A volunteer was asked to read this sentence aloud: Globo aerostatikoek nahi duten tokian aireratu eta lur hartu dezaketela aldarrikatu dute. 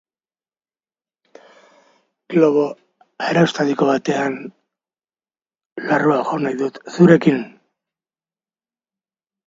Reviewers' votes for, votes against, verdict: 0, 2, rejected